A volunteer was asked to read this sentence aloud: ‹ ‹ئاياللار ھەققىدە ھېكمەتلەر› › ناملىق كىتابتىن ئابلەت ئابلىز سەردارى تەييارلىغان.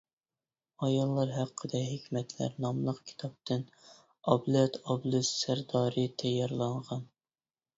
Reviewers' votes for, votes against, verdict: 0, 2, rejected